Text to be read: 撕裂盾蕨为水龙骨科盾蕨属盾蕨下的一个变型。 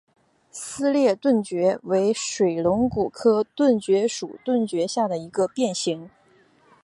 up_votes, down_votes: 4, 0